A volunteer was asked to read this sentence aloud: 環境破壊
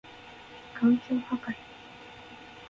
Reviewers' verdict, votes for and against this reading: accepted, 2, 0